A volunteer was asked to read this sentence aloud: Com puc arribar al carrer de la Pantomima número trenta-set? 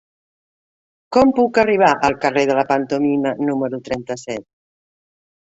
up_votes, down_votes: 2, 0